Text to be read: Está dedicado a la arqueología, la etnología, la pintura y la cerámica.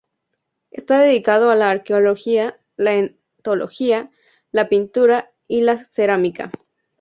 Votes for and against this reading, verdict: 2, 0, accepted